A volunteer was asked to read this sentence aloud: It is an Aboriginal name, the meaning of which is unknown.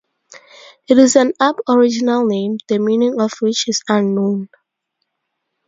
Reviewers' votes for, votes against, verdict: 2, 0, accepted